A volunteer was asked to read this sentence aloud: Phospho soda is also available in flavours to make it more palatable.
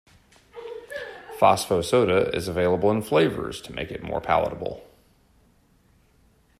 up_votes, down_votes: 0, 2